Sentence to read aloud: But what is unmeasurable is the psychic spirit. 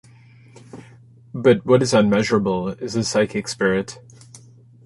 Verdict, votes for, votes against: accepted, 2, 0